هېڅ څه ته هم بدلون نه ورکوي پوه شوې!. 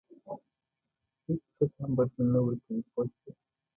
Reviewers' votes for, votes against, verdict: 1, 2, rejected